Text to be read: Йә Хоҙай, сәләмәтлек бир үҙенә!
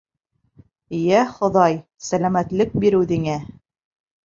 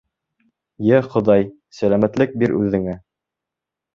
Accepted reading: second